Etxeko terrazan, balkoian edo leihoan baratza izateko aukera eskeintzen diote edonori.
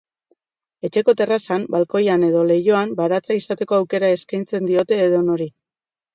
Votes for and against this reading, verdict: 1, 2, rejected